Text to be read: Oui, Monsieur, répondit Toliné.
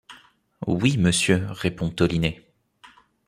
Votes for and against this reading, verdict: 0, 2, rejected